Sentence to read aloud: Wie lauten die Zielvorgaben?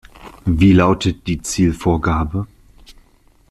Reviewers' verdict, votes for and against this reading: rejected, 0, 2